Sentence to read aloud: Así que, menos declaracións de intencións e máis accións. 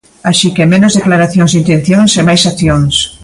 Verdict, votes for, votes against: accepted, 2, 0